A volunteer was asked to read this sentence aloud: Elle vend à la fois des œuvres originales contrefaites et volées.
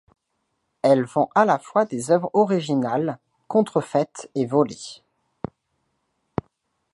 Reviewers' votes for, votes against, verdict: 2, 0, accepted